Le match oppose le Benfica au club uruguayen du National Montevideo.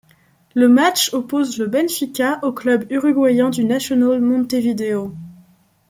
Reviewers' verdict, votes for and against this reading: accepted, 2, 0